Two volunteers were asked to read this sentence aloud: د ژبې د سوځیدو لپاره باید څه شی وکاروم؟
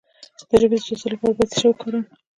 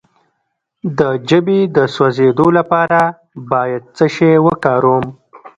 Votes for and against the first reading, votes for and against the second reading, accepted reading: 2, 1, 0, 2, first